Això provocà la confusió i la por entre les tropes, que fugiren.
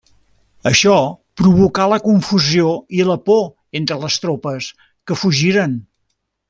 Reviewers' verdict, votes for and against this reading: accepted, 3, 0